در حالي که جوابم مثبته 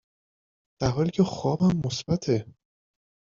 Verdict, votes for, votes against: rejected, 0, 2